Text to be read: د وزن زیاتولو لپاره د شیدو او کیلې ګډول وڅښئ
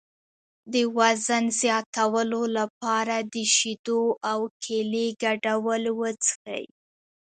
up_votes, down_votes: 2, 0